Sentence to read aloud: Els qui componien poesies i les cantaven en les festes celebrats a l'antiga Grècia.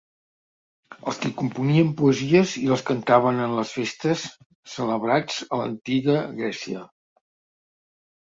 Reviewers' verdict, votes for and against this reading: accepted, 2, 0